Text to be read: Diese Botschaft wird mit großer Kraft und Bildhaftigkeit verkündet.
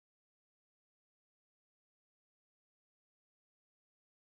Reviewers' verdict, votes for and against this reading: rejected, 0, 4